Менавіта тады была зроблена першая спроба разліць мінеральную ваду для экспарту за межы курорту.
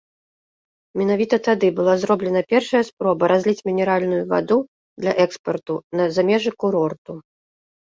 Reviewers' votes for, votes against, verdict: 0, 2, rejected